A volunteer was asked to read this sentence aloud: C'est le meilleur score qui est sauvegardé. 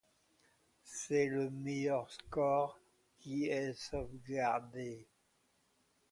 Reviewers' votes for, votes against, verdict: 2, 1, accepted